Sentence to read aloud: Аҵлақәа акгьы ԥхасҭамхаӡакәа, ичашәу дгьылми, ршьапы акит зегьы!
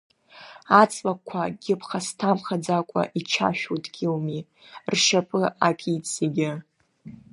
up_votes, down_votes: 2, 0